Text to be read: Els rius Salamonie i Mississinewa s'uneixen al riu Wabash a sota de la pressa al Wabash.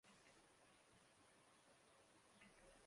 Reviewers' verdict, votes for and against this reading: rejected, 0, 2